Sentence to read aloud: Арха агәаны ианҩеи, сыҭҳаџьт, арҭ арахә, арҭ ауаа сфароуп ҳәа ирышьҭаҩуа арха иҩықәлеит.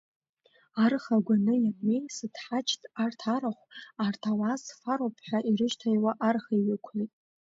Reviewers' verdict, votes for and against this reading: rejected, 1, 2